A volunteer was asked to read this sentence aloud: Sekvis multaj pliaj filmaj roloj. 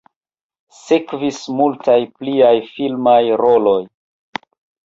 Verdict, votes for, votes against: accepted, 2, 0